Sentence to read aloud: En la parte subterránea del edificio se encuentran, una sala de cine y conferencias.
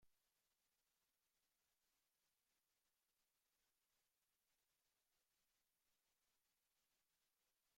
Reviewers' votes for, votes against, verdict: 0, 2, rejected